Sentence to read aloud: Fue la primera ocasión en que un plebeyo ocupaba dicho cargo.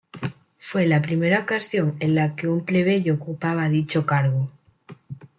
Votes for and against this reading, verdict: 1, 2, rejected